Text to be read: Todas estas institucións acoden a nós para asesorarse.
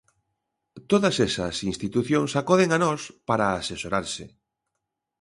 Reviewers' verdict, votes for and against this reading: rejected, 0, 2